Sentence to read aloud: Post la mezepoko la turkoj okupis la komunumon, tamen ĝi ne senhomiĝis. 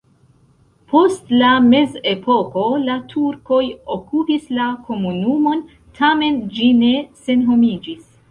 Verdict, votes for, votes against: rejected, 1, 2